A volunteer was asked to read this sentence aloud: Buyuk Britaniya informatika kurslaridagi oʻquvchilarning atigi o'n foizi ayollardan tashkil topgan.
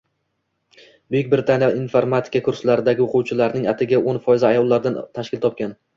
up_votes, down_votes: 2, 0